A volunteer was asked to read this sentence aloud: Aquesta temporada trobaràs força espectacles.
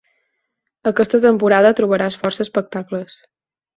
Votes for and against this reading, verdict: 4, 0, accepted